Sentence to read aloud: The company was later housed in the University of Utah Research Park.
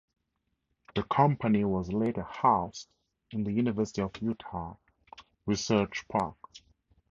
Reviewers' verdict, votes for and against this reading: accepted, 4, 0